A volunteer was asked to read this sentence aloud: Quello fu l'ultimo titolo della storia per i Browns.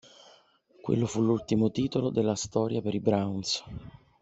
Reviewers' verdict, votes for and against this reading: accepted, 2, 0